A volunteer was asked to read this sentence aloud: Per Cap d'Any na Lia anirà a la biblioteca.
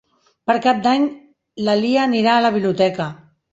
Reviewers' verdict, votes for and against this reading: rejected, 1, 2